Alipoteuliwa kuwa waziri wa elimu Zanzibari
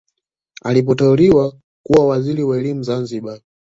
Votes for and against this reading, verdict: 2, 1, accepted